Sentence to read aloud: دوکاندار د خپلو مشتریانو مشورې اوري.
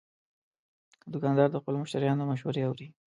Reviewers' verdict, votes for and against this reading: accepted, 3, 0